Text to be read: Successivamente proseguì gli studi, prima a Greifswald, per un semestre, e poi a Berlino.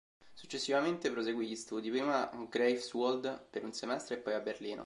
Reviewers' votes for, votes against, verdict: 2, 0, accepted